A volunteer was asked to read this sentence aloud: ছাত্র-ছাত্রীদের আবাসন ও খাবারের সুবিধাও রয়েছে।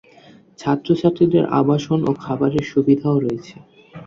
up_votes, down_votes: 8, 0